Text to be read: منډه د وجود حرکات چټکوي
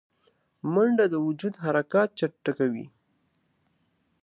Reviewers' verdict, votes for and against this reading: accepted, 5, 0